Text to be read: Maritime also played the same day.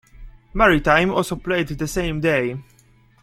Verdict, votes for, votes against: accepted, 2, 0